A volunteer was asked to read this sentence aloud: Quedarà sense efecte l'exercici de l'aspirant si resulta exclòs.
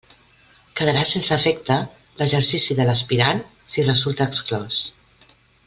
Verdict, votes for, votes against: accepted, 2, 1